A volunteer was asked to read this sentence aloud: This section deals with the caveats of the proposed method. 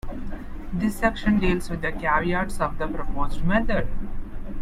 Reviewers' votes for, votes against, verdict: 1, 2, rejected